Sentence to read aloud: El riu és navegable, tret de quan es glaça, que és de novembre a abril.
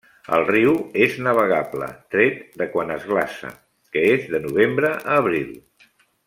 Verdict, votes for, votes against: accepted, 3, 0